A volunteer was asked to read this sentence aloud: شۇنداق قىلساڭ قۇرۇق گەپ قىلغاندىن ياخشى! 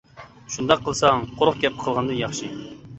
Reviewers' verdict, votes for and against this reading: accepted, 2, 0